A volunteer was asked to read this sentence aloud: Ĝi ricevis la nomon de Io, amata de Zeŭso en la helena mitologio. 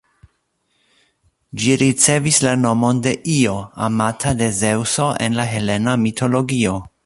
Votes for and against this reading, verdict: 2, 0, accepted